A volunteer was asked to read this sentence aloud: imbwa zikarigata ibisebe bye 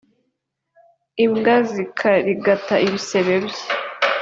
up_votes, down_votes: 2, 0